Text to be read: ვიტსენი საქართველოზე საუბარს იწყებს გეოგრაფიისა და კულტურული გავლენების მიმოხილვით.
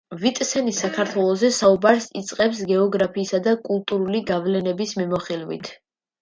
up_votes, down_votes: 1, 2